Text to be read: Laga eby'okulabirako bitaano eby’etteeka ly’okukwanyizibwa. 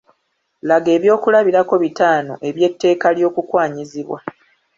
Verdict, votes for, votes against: accepted, 2, 1